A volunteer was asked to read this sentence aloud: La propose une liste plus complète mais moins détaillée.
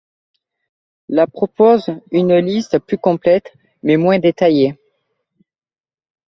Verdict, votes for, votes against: accepted, 2, 0